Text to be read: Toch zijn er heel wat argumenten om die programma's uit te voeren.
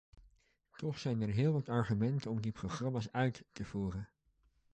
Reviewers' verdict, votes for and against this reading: accepted, 2, 1